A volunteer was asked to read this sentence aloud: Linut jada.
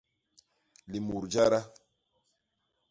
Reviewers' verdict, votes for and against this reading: rejected, 0, 2